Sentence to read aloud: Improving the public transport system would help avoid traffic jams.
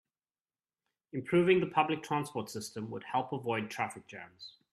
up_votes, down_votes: 2, 0